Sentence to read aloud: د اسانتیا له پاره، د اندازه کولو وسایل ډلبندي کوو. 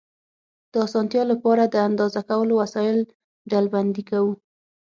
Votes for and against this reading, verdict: 6, 0, accepted